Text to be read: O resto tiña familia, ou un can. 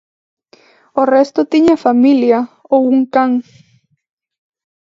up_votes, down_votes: 2, 0